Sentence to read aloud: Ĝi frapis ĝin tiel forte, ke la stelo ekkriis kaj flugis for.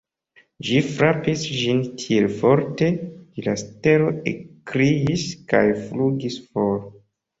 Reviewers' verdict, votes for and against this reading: accepted, 2, 0